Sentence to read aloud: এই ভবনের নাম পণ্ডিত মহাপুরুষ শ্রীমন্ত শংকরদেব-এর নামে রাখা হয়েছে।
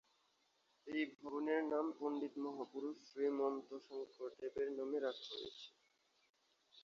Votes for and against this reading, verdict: 1, 2, rejected